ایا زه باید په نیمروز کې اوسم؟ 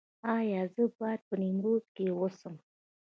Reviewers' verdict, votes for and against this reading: accepted, 2, 0